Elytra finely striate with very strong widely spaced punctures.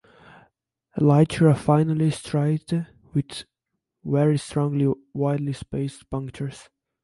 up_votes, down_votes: 2, 1